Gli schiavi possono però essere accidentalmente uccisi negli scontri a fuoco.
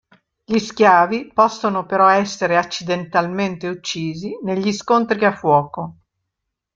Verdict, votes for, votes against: rejected, 0, 2